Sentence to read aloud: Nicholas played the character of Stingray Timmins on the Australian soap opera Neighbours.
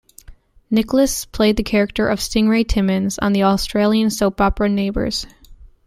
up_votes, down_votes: 2, 0